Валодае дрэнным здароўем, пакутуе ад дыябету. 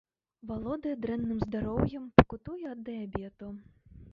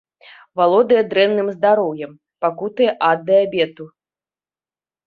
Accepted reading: second